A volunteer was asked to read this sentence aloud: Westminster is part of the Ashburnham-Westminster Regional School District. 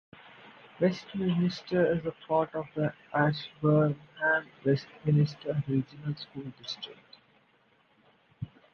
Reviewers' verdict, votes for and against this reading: rejected, 0, 2